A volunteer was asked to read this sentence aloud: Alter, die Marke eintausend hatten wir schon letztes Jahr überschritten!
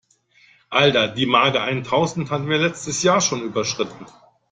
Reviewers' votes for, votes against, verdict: 1, 2, rejected